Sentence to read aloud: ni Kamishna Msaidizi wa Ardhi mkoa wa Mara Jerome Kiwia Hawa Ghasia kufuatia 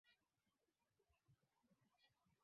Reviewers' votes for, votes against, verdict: 0, 2, rejected